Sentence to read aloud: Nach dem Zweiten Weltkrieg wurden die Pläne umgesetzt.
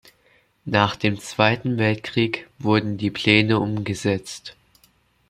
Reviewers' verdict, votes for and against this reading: accepted, 2, 0